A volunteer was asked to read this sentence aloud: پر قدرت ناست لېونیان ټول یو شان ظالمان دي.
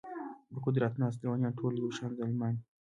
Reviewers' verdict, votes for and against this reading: accepted, 2, 0